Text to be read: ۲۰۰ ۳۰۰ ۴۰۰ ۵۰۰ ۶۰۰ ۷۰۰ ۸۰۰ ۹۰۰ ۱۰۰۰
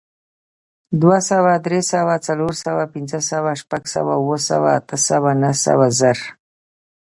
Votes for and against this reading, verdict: 0, 2, rejected